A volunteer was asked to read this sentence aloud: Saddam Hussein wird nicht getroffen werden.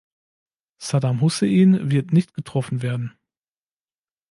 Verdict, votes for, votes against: accepted, 3, 0